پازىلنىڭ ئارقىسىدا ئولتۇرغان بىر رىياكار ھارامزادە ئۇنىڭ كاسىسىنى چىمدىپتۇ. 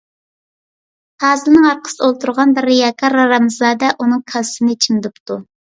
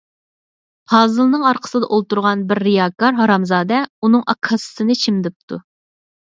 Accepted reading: first